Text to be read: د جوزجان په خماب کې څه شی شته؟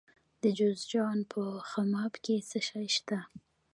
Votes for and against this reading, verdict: 0, 2, rejected